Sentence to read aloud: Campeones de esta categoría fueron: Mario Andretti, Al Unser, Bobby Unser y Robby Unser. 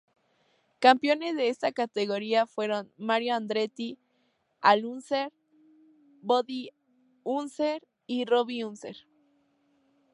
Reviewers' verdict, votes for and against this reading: accepted, 2, 0